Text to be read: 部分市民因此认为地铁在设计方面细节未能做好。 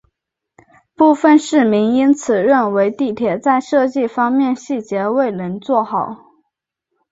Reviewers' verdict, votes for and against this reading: accepted, 4, 0